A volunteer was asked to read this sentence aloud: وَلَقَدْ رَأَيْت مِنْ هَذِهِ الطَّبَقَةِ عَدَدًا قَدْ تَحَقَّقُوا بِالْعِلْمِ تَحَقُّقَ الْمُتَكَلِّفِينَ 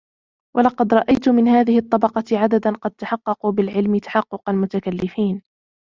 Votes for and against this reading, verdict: 2, 1, accepted